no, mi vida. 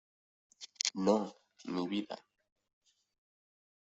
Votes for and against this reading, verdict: 2, 0, accepted